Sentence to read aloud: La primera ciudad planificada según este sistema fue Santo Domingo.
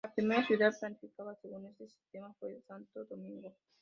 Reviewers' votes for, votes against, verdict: 0, 2, rejected